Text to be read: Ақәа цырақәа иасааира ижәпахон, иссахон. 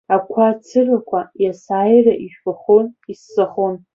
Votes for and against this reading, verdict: 2, 0, accepted